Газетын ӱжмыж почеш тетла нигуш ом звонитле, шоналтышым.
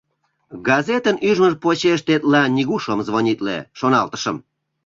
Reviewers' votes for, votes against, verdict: 2, 0, accepted